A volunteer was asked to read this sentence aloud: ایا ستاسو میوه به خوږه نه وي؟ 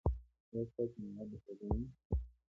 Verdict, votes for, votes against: rejected, 0, 2